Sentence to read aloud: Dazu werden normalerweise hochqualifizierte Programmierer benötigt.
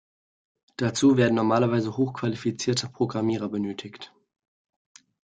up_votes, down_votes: 2, 0